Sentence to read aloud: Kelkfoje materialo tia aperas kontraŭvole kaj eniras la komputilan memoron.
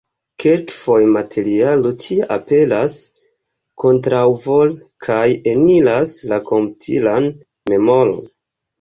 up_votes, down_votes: 1, 2